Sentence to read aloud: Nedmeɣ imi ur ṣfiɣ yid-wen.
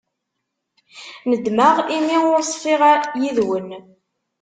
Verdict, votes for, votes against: rejected, 1, 2